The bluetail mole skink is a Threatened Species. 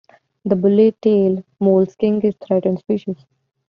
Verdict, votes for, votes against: rejected, 2, 3